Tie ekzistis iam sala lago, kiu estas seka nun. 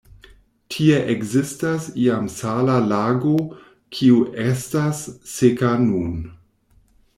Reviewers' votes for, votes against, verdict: 0, 2, rejected